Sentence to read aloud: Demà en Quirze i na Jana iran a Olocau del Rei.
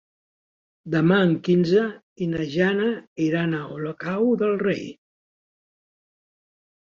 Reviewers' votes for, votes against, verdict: 2, 3, rejected